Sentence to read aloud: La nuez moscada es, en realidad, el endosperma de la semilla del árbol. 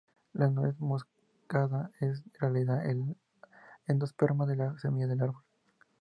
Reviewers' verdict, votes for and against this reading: accepted, 2, 0